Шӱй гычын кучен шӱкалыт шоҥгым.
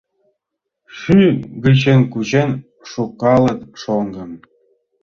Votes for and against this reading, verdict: 0, 2, rejected